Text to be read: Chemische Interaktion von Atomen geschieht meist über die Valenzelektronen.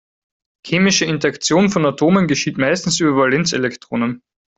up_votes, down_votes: 0, 4